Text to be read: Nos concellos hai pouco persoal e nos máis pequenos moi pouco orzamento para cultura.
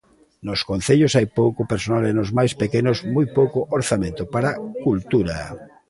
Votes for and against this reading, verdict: 2, 0, accepted